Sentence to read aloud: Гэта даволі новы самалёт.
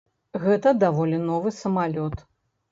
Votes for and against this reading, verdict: 3, 0, accepted